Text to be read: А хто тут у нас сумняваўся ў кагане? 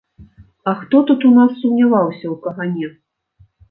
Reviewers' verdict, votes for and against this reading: accepted, 2, 0